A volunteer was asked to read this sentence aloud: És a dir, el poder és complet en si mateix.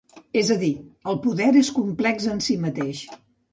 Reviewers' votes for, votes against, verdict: 1, 2, rejected